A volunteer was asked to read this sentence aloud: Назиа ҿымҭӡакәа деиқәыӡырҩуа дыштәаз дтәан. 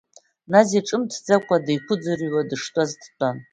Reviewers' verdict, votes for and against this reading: rejected, 0, 2